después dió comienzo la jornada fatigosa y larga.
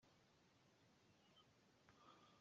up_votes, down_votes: 0, 2